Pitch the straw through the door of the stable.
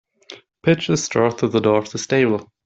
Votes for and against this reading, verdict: 2, 0, accepted